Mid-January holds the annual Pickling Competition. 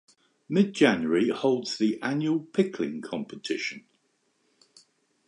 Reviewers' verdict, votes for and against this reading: accepted, 2, 0